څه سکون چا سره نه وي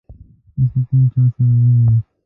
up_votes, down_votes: 0, 2